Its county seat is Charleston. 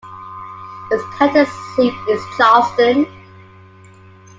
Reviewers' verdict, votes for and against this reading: rejected, 0, 2